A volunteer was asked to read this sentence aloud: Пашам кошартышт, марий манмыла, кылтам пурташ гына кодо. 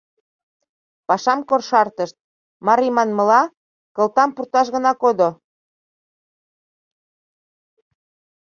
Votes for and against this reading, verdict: 1, 2, rejected